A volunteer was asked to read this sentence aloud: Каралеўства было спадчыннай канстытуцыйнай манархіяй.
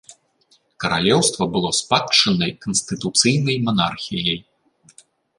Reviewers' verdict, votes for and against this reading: accepted, 2, 0